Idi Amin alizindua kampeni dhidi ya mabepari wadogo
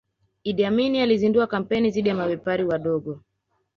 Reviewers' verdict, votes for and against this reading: rejected, 0, 2